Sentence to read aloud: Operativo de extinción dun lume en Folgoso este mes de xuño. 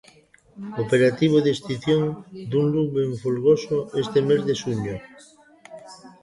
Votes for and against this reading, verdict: 0, 2, rejected